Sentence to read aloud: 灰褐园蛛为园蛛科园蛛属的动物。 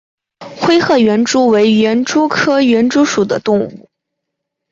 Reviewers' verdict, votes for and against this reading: accepted, 3, 0